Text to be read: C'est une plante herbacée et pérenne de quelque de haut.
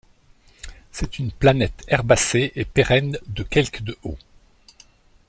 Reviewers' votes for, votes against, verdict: 0, 2, rejected